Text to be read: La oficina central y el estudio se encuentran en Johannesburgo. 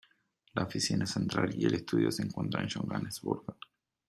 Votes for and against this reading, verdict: 2, 0, accepted